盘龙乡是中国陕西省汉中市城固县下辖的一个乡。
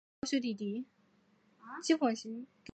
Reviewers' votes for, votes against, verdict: 0, 2, rejected